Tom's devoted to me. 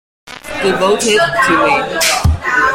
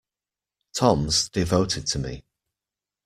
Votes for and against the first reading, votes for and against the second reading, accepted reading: 0, 2, 2, 0, second